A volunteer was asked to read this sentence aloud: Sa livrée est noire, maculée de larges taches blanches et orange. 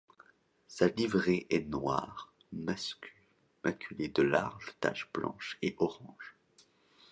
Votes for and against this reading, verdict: 0, 2, rejected